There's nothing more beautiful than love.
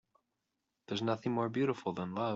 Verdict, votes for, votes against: accepted, 6, 0